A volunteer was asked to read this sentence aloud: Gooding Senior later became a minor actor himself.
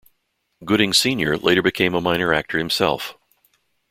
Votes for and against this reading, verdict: 2, 0, accepted